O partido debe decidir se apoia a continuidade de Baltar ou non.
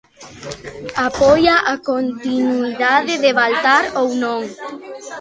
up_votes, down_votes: 0, 2